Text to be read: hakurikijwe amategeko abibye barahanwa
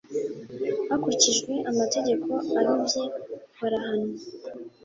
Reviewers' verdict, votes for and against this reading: accepted, 3, 0